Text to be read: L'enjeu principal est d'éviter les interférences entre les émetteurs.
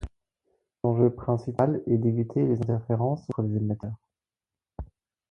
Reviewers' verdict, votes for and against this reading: accepted, 4, 2